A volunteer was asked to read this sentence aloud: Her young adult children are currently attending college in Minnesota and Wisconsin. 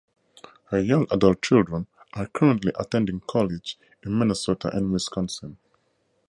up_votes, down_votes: 4, 0